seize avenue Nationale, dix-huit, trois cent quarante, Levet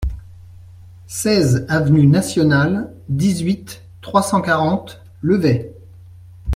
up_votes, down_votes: 2, 0